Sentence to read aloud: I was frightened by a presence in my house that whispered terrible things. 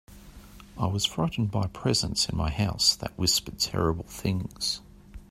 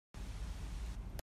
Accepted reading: first